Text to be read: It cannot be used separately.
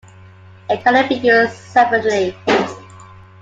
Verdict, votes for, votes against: accepted, 2, 0